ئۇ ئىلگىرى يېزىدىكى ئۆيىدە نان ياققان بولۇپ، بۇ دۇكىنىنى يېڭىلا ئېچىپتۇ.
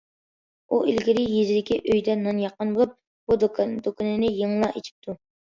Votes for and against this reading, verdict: 0, 2, rejected